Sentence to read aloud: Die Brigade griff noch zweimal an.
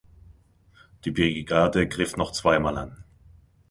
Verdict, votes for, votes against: rejected, 0, 2